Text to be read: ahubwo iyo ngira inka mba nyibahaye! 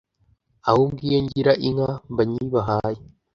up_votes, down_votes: 2, 0